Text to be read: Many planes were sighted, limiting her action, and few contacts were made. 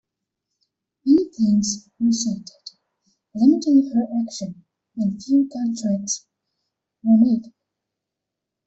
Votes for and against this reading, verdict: 1, 2, rejected